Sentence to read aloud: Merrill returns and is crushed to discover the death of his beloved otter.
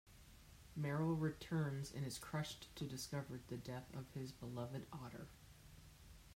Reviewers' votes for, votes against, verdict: 0, 2, rejected